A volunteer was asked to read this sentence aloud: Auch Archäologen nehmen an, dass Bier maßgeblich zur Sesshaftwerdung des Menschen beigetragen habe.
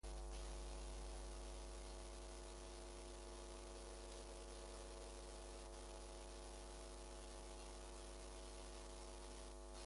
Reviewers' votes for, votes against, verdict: 0, 2, rejected